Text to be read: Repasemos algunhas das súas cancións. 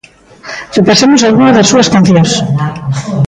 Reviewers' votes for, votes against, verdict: 1, 2, rejected